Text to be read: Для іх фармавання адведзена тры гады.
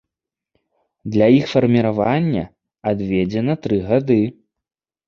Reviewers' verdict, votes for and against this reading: rejected, 0, 2